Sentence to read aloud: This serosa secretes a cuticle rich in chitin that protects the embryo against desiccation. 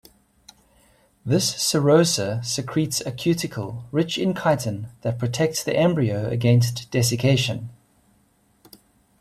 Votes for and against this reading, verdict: 2, 0, accepted